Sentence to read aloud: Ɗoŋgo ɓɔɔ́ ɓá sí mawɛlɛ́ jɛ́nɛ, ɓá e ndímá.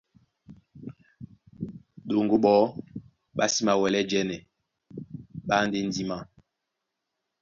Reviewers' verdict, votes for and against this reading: rejected, 1, 2